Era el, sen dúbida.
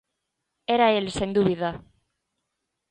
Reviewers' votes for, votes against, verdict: 2, 0, accepted